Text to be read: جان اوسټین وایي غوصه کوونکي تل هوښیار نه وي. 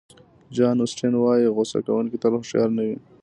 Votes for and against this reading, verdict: 2, 0, accepted